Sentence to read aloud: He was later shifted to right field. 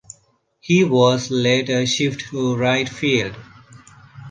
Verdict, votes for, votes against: rejected, 0, 2